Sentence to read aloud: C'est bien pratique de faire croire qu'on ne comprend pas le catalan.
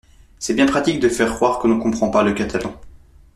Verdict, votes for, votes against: accepted, 2, 0